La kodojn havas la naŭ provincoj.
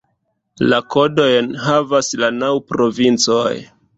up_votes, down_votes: 2, 1